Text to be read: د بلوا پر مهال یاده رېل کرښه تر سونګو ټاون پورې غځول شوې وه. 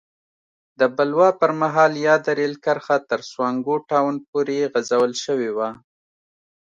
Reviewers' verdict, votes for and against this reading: accepted, 2, 0